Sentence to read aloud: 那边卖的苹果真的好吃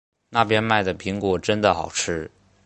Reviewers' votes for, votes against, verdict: 3, 1, accepted